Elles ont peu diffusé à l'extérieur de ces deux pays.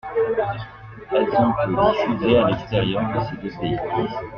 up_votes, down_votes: 0, 2